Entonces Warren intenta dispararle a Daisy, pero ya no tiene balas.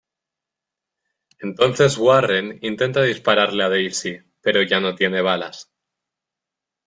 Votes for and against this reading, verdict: 2, 1, accepted